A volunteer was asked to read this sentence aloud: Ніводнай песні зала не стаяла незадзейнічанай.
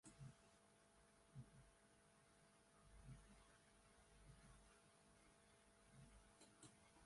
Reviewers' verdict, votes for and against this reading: rejected, 0, 3